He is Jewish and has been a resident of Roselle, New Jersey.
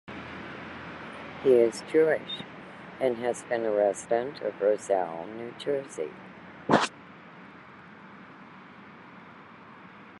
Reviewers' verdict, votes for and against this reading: accepted, 2, 0